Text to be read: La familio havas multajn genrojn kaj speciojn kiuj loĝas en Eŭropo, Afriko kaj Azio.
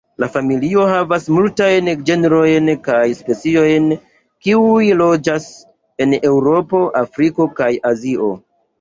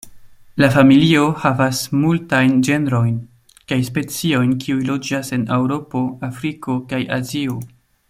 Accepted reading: second